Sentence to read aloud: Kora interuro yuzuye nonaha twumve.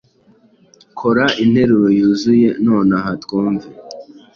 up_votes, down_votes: 2, 0